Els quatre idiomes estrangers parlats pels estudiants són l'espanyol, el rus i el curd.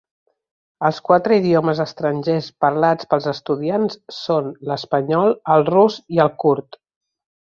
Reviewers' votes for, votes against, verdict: 2, 0, accepted